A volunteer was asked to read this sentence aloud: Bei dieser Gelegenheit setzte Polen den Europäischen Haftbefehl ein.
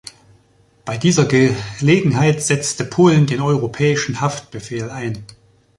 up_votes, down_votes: 1, 2